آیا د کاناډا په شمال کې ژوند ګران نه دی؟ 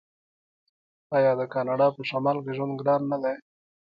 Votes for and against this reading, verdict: 2, 1, accepted